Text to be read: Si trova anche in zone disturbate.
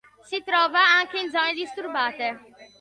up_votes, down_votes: 2, 0